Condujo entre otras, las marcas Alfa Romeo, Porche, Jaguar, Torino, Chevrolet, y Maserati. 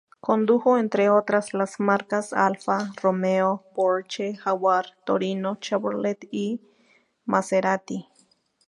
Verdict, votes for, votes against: accepted, 2, 0